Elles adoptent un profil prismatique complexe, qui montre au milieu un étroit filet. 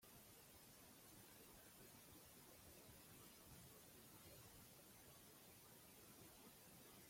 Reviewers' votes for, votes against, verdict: 0, 2, rejected